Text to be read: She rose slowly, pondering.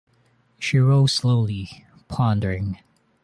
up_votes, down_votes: 2, 0